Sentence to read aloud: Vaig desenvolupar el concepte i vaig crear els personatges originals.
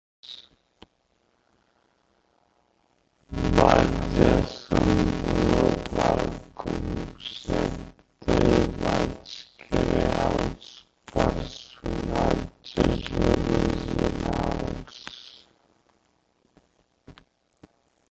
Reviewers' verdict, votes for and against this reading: rejected, 0, 2